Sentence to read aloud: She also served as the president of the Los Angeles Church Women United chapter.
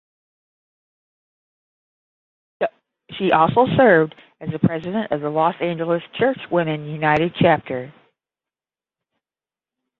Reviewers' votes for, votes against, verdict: 10, 0, accepted